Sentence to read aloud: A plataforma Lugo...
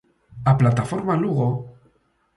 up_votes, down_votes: 2, 0